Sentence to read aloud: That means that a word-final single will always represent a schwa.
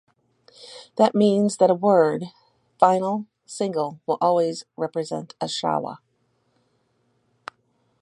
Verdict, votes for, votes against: rejected, 2, 4